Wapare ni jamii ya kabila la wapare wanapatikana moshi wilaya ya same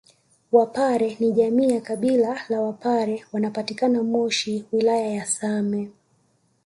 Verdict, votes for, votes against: accepted, 2, 0